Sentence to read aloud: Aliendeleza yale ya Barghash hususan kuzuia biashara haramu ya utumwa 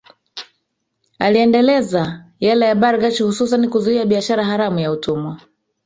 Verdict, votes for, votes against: rejected, 1, 2